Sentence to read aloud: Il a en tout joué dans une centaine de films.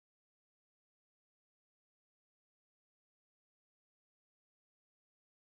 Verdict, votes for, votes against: rejected, 1, 2